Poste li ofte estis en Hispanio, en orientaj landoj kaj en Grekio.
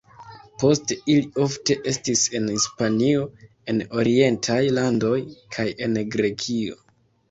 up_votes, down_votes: 2, 1